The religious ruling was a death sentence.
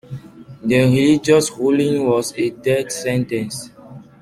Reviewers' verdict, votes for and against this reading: accepted, 2, 1